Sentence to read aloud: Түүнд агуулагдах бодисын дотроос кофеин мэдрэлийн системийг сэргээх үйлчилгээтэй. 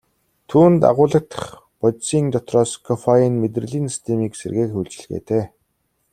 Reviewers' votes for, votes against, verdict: 2, 0, accepted